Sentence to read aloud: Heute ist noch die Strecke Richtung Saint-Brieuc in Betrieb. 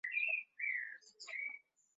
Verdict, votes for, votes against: rejected, 0, 2